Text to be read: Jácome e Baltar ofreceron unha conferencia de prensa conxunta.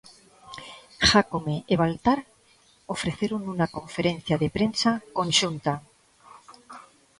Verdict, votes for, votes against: accepted, 2, 0